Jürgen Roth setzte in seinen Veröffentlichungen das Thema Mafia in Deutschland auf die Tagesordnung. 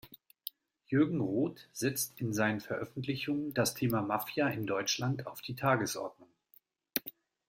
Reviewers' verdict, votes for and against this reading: rejected, 1, 2